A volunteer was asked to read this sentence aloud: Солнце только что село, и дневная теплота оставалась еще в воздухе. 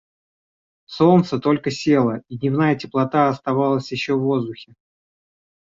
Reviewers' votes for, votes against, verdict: 0, 2, rejected